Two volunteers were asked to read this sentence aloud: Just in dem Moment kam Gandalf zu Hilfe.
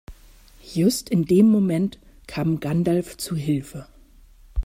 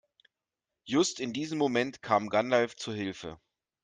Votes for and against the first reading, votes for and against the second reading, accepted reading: 2, 0, 0, 2, first